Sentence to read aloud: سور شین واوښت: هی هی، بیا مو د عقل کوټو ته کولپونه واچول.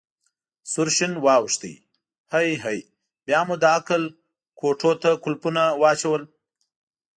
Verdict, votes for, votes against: accepted, 3, 0